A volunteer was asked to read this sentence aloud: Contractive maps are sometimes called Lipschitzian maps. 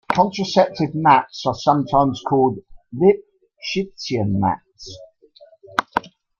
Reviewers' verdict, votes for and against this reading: accepted, 2, 0